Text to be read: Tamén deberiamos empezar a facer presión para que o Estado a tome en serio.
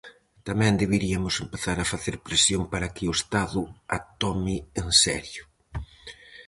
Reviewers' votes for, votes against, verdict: 0, 4, rejected